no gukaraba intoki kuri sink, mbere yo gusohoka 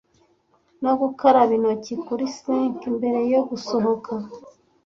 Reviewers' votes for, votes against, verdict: 2, 0, accepted